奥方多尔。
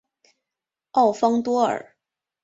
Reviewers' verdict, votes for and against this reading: accepted, 2, 0